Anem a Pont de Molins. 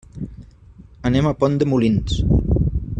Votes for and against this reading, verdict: 3, 0, accepted